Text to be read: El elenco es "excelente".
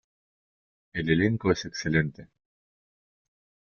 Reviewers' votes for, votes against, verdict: 3, 0, accepted